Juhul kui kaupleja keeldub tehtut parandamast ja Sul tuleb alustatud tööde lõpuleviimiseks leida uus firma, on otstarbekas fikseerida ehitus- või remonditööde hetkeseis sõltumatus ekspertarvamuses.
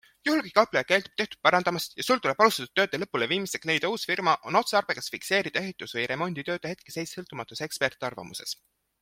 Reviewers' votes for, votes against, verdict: 2, 0, accepted